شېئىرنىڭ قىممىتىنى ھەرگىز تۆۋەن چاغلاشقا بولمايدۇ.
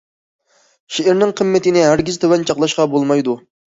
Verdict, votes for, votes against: accepted, 2, 0